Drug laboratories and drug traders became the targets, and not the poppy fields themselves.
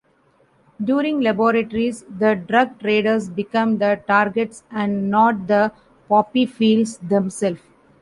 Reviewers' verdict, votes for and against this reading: rejected, 0, 2